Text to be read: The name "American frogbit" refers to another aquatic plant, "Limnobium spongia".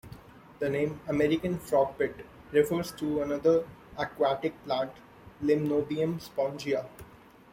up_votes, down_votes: 2, 0